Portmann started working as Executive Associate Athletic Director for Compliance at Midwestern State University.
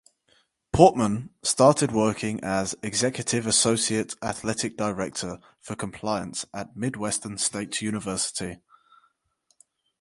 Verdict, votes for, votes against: accepted, 4, 0